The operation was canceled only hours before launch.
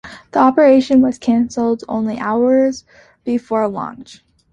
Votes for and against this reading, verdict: 2, 0, accepted